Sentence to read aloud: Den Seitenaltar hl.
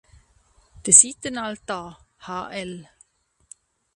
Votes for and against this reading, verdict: 2, 1, accepted